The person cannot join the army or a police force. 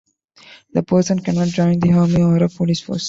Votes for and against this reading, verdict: 2, 0, accepted